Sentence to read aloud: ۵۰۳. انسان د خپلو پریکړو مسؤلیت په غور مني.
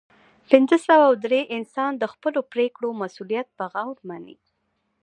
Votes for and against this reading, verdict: 0, 2, rejected